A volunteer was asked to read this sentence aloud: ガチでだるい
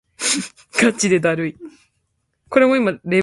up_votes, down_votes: 0, 2